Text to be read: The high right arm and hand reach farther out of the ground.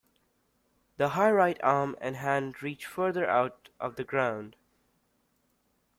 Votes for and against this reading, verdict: 3, 1, accepted